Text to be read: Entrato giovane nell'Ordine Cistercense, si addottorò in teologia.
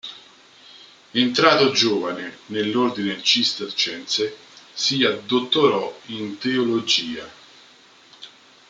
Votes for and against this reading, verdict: 1, 2, rejected